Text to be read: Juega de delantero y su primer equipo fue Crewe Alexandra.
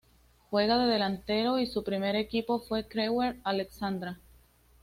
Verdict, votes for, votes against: accepted, 2, 0